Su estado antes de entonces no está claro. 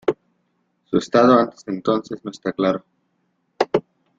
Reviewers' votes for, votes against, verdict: 1, 2, rejected